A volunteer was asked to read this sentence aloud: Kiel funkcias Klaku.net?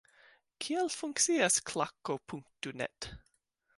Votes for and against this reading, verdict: 2, 0, accepted